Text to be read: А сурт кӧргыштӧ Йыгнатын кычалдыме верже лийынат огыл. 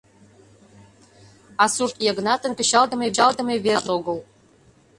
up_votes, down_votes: 0, 2